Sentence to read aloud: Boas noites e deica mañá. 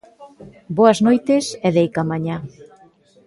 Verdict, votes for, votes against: rejected, 0, 2